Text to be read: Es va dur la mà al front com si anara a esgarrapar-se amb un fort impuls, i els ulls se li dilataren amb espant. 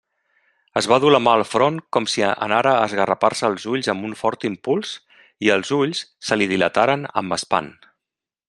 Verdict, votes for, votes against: rejected, 1, 2